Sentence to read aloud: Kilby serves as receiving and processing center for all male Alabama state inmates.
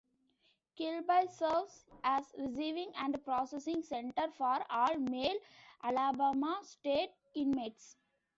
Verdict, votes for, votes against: accepted, 2, 1